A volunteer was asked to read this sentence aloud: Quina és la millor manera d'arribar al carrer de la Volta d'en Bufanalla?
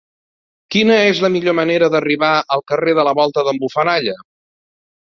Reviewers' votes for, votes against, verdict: 1, 2, rejected